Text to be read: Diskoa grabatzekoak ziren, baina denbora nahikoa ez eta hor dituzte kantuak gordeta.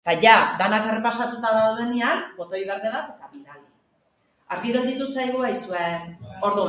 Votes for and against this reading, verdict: 1, 2, rejected